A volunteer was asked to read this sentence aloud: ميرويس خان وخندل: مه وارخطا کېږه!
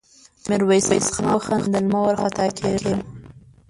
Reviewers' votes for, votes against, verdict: 1, 2, rejected